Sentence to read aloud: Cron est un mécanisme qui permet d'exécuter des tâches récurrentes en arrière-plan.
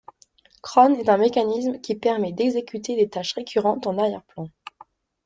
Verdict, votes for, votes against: accepted, 2, 0